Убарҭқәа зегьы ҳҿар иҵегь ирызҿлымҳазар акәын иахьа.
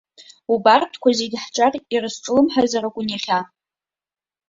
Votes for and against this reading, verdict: 1, 2, rejected